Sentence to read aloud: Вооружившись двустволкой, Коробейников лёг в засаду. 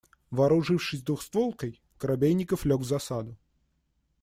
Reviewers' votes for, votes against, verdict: 1, 2, rejected